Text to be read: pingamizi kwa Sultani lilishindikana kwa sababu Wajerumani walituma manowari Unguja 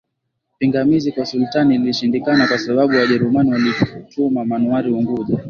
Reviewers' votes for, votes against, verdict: 34, 3, accepted